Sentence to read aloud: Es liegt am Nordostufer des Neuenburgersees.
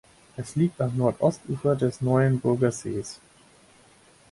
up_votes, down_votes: 4, 0